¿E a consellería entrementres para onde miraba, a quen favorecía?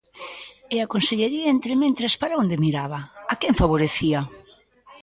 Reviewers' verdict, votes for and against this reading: accepted, 2, 0